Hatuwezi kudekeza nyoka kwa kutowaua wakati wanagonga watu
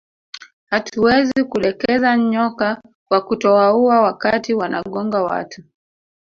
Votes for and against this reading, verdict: 2, 0, accepted